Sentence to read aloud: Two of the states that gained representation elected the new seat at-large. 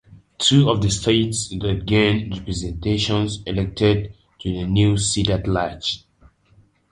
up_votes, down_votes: 0, 2